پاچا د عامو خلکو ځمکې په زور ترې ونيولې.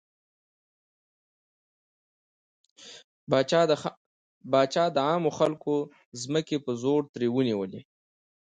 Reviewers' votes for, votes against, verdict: 1, 2, rejected